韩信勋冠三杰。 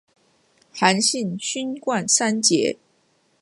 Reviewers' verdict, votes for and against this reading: accepted, 2, 0